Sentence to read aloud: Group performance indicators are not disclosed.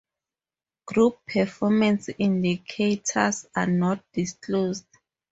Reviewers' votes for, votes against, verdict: 2, 0, accepted